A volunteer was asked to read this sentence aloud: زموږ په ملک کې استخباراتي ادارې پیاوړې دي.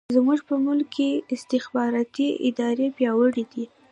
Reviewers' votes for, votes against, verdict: 2, 1, accepted